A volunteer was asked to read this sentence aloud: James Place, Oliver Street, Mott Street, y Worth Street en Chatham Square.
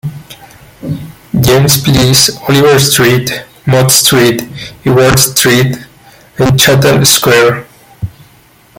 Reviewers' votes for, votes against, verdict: 0, 2, rejected